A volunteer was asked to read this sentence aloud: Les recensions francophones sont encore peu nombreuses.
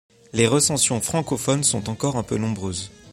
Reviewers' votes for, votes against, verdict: 0, 2, rejected